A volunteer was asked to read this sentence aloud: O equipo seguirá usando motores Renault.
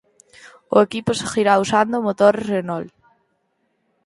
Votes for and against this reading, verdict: 4, 0, accepted